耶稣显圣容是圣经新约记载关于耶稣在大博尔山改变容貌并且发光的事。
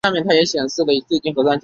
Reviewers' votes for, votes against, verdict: 1, 5, rejected